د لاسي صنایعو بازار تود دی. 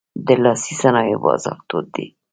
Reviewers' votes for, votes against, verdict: 0, 2, rejected